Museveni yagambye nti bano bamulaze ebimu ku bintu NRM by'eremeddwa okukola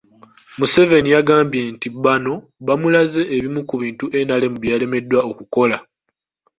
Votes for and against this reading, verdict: 3, 2, accepted